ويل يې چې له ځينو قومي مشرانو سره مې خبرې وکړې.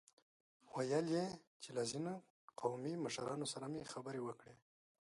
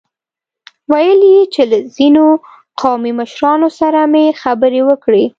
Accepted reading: second